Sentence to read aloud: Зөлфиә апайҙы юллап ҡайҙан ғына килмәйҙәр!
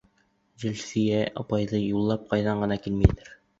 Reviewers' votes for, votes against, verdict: 2, 0, accepted